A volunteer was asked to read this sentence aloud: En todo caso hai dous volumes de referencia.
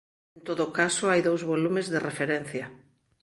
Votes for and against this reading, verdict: 0, 2, rejected